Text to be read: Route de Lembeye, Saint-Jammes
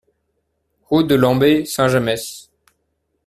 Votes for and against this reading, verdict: 0, 2, rejected